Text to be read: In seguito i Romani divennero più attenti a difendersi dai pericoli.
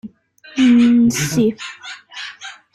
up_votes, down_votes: 0, 2